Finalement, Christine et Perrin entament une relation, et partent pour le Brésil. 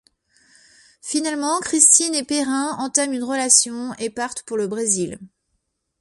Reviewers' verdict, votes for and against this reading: accepted, 2, 0